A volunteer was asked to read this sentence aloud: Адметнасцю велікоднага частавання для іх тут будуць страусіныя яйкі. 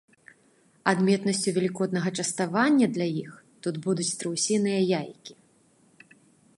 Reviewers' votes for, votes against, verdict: 2, 0, accepted